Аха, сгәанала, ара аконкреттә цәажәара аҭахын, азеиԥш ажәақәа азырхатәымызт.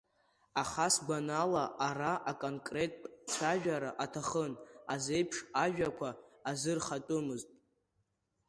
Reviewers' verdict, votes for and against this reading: accepted, 2, 1